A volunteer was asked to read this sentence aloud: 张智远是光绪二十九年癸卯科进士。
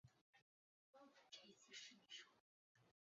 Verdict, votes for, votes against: rejected, 0, 5